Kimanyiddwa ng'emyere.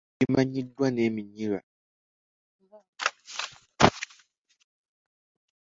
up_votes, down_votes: 1, 2